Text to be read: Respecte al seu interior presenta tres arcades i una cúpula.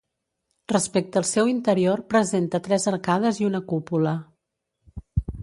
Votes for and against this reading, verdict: 2, 0, accepted